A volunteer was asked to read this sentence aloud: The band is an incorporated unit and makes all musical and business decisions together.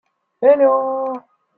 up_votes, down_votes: 0, 2